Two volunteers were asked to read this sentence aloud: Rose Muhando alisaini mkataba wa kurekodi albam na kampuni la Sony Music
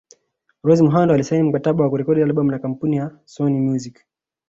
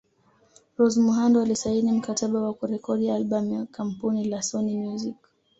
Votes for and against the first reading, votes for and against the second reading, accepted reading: 0, 2, 2, 0, second